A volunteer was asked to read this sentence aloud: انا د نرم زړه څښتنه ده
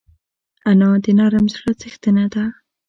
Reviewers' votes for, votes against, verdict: 2, 0, accepted